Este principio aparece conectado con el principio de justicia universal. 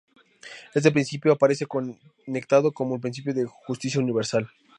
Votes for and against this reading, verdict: 0, 2, rejected